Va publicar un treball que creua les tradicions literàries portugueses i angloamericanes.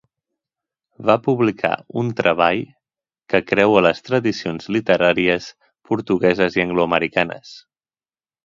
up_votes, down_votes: 2, 0